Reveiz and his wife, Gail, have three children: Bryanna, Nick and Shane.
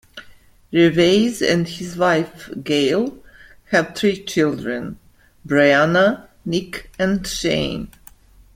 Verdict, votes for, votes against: accepted, 3, 0